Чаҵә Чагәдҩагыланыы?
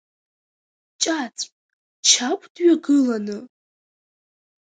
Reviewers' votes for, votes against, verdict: 0, 2, rejected